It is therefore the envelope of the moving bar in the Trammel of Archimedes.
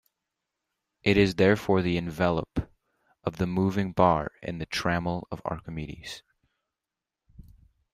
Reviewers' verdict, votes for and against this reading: accepted, 2, 1